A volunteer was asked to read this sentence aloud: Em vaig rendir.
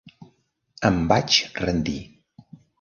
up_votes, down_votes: 3, 0